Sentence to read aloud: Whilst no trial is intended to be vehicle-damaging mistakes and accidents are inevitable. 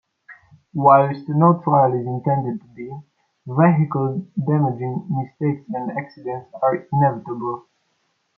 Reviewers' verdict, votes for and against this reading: rejected, 0, 2